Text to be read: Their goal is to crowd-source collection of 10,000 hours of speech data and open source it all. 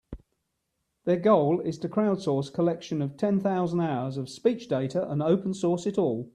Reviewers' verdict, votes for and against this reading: rejected, 0, 2